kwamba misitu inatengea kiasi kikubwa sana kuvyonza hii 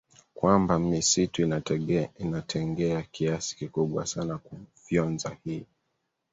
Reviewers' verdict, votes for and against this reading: accepted, 4, 2